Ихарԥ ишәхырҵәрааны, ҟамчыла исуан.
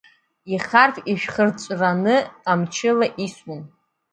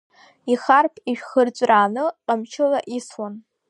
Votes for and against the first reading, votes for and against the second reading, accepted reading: 0, 2, 2, 1, second